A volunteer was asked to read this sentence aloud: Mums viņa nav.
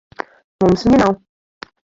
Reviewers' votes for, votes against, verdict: 2, 4, rejected